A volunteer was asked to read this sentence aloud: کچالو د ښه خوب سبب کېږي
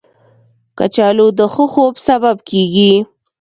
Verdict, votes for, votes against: accepted, 2, 0